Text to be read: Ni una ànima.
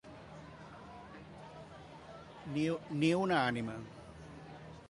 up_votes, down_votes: 0, 2